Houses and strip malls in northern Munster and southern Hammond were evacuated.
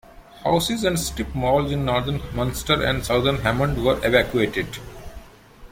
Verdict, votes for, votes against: accepted, 2, 0